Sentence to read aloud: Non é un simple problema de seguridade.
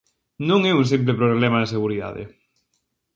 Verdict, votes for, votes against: accepted, 2, 0